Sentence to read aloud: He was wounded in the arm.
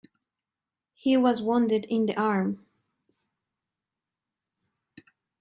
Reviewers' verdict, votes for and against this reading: accepted, 2, 0